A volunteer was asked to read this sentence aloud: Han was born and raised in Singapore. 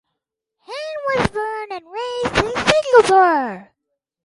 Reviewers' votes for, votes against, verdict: 4, 2, accepted